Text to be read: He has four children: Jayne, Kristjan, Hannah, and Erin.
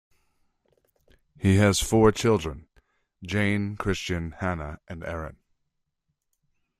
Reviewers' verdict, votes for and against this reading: rejected, 1, 2